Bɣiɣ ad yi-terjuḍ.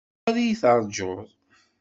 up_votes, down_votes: 1, 2